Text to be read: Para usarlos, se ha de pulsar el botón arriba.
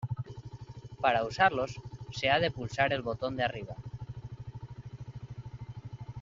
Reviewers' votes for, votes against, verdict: 1, 2, rejected